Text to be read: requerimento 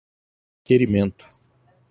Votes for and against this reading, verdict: 4, 0, accepted